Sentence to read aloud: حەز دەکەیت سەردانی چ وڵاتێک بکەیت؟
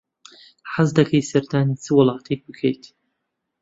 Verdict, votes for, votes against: accepted, 2, 0